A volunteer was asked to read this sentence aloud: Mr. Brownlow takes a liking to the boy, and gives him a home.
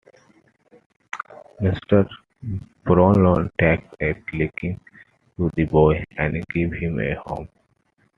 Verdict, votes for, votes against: accepted, 2, 1